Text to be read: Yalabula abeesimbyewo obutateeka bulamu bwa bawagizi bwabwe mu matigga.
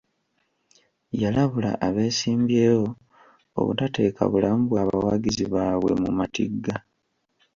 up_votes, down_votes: 1, 2